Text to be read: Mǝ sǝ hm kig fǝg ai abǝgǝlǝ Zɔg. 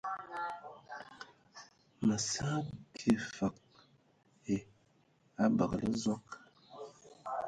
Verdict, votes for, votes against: rejected, 0, 2